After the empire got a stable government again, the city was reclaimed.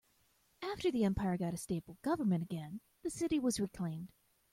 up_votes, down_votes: 2, 1